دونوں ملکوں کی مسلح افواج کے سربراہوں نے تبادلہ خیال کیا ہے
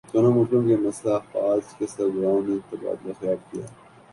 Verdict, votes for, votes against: accepted, 8, 2